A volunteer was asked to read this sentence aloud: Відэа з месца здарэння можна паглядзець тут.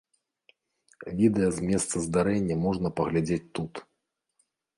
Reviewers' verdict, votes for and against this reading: accepted, 2, 0